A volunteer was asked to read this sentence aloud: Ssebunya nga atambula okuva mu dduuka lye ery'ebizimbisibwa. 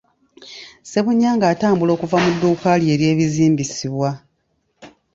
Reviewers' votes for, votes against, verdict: 2, 0, accepted